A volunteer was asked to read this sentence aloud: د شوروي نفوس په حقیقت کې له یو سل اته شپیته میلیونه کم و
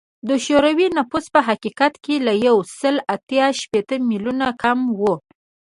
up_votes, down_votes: 2, 0